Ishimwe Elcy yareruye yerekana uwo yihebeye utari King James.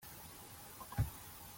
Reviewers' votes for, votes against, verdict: 0, 3, rejected